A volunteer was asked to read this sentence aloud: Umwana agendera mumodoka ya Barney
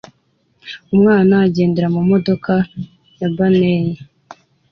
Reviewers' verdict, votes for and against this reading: accepted, 2, 0